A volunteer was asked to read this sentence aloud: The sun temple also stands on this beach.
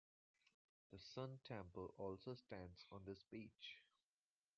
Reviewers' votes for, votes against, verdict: 2, 0, accepted